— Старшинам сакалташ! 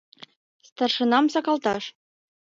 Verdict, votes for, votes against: accepted, 2, 0